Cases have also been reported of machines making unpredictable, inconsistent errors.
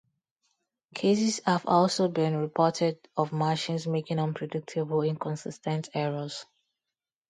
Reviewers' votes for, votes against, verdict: 2, 2, rejected